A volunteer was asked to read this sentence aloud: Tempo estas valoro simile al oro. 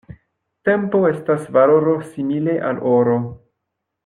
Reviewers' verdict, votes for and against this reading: accepted, 2, 0